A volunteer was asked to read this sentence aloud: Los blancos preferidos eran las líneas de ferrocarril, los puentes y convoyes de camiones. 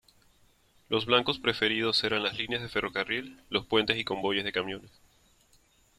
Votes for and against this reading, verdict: 0, 2, rejected